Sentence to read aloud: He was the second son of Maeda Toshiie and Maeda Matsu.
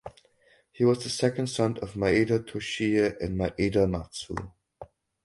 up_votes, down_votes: 4, 0